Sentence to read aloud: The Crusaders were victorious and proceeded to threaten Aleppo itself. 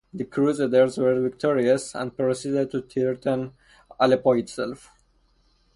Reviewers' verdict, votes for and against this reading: rejected, 0, 2